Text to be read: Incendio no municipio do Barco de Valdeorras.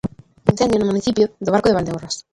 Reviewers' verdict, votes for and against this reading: rejected, 0, 2